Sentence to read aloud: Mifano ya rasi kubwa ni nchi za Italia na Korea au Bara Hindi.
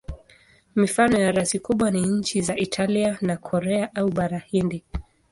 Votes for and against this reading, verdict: 2, 0, accepted